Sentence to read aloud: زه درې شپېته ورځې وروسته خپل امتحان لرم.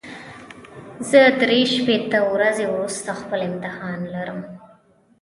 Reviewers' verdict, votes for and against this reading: accepted, 2, 1